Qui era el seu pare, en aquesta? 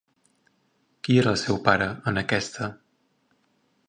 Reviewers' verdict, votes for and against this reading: accepted, 2, 0